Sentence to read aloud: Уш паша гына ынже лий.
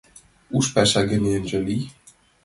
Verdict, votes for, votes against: accepted, 2, 0